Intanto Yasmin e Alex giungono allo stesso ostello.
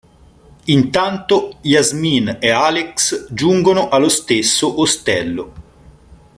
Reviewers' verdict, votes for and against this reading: accepted, 2, 0